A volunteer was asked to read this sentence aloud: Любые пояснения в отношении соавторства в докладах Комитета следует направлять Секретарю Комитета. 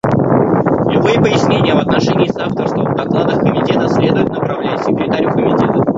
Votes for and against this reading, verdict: 1, 2, rejected